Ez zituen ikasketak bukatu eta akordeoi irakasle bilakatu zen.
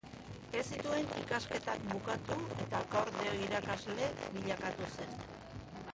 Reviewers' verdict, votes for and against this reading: rejected, 0, 2